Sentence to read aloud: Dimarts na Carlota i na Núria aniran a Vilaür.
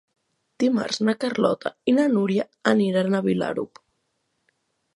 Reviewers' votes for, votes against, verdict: 0, 2, rejected